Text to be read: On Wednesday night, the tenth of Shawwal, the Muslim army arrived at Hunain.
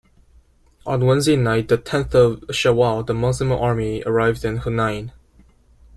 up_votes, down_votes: 2, 1